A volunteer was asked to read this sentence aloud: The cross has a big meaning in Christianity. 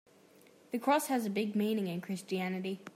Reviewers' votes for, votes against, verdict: 2, 0, accepted